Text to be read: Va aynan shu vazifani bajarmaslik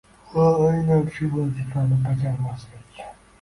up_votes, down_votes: 0, 2